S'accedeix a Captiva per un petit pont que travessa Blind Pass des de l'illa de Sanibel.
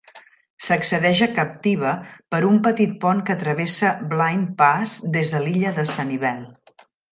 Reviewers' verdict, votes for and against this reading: accepted, 3, 0